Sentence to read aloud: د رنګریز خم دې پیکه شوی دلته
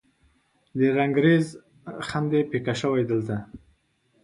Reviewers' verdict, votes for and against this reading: accepted, 2, 0